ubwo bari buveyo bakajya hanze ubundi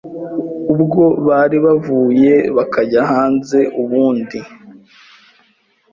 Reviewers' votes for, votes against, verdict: 1, 2, rejected